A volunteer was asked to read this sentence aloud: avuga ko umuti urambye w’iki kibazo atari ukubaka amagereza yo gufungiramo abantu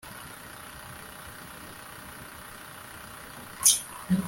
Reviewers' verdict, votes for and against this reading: rejected, 1, 2